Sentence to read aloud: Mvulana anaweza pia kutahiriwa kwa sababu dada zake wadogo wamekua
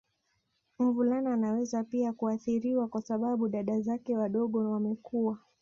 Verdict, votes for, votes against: rejected, 0, 2